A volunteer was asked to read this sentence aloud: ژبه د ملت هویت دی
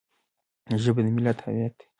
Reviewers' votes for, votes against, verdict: 0, 2, rejected